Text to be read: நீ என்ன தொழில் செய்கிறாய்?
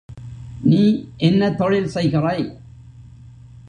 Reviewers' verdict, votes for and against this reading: rejected, 1, 2